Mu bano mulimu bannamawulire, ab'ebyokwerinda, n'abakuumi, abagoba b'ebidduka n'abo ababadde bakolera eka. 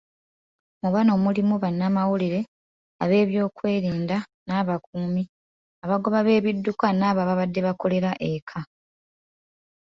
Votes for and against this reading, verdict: 2, 1, accepted